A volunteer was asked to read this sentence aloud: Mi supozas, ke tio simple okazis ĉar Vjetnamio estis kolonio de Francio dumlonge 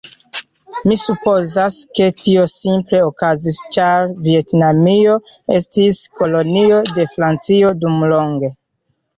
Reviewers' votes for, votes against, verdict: 2, 1, accepted